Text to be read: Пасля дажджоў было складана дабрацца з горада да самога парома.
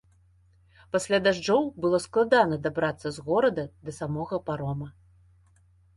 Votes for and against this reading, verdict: 2, 0, accepted